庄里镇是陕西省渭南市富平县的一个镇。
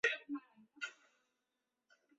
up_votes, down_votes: 0, 2